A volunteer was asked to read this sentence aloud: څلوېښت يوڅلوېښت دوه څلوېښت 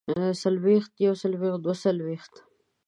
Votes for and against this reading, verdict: 3, 0, accepted